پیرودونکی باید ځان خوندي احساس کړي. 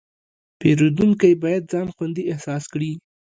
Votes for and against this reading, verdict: 2, 1, accepted